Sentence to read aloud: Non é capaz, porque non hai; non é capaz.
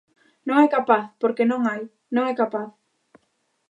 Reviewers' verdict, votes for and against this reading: accepted, 2, 0